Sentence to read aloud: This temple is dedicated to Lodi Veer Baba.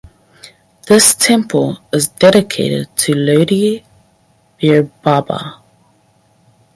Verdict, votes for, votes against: rejected, 2, 2